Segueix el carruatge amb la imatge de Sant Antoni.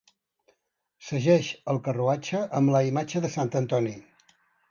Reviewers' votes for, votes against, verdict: 0, 2, rejected